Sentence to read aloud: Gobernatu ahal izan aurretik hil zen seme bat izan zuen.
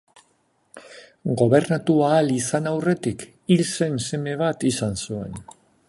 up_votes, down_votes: 2, 0